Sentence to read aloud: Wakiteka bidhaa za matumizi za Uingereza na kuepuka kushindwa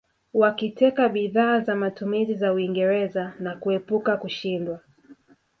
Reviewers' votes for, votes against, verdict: 2, 0, accepted